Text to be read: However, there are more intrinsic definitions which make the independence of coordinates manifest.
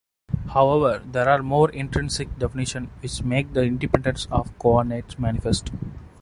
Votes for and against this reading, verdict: 0, 2, rejected